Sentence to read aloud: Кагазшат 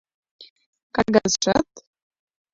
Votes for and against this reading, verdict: 0, 2, rejected